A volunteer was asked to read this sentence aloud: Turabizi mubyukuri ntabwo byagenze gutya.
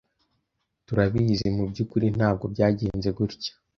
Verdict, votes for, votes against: accepted, 2, 1